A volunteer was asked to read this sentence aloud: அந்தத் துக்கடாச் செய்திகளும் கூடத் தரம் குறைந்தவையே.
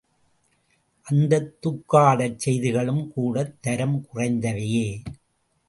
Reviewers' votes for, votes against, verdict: 0, 2, rejected